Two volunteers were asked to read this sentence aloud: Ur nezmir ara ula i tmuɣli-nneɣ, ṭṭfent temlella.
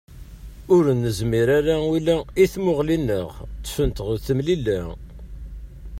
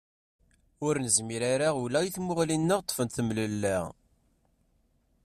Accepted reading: second